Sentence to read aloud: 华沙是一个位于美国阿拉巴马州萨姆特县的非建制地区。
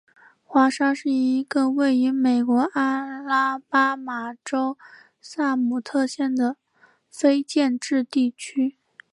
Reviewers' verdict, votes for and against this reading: accepted, 2, 0